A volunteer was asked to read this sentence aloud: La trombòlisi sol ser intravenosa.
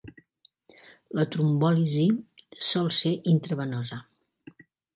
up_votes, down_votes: 2, 0